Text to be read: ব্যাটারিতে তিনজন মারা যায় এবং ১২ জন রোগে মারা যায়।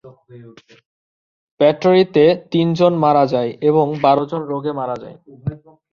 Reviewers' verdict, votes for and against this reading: rejected, 0, 2